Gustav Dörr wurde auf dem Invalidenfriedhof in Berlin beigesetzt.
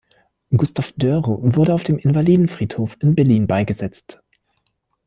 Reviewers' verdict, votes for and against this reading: rejected, 0, 2